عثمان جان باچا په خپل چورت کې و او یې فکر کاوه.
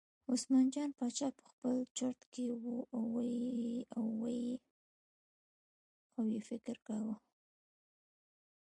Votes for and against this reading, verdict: 2, 0, accepted